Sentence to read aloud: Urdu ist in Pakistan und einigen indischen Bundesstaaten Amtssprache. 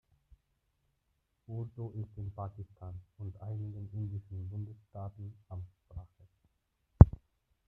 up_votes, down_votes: 0, 2